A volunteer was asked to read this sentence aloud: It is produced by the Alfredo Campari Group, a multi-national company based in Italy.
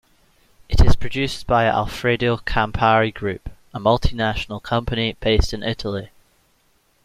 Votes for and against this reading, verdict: 3, 1, accepted